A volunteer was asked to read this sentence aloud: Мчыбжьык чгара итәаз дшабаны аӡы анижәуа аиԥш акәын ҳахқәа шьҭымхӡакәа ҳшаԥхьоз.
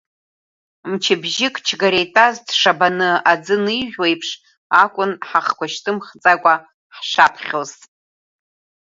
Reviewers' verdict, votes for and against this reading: rejected, 0, 2